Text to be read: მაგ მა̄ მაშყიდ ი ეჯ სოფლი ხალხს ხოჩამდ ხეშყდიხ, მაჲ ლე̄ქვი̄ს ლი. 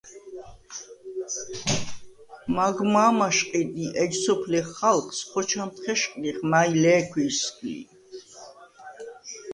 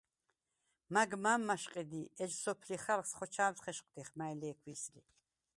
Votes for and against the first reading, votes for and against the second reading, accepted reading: 2, 0, 0, 4, first